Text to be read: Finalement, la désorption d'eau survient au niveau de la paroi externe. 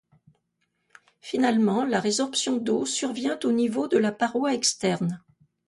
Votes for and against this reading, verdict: 0, 2, rejected